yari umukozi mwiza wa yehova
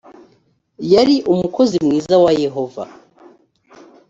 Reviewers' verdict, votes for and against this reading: accepted, 2, 0